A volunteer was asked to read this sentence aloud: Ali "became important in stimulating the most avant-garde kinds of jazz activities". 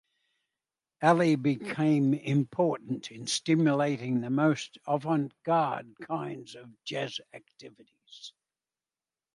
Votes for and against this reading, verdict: 2, 0, accepted